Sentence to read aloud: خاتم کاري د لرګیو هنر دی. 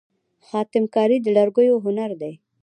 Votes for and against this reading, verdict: 0, 2, rejected